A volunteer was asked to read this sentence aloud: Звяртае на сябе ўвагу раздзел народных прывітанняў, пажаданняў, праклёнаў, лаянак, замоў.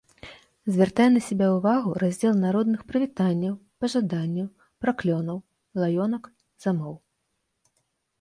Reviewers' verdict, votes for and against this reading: rejected, 0, 2